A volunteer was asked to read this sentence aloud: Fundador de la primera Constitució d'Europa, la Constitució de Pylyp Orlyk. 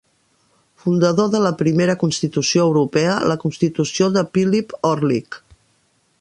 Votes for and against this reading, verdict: 0, 2, rejected